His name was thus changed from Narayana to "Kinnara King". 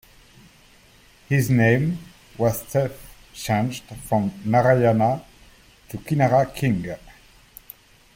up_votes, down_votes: 0, 2